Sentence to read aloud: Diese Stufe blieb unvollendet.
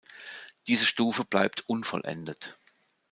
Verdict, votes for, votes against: rejected, 0, 2